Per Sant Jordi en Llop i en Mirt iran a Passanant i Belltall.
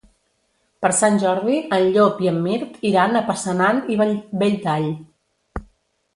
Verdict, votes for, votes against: rejected, 1, 2